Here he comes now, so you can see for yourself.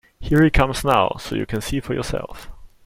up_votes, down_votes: 2, 0